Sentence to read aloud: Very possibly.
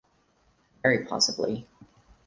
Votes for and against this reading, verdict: 4, 0, accepted